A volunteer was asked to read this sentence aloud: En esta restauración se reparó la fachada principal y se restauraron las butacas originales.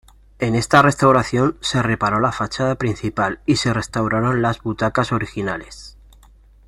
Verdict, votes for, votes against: accepted, 2, 0